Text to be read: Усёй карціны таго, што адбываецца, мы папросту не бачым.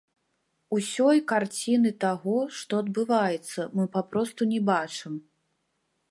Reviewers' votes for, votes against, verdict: 1, 2, rejected